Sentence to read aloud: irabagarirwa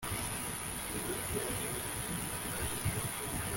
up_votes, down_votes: 1, 2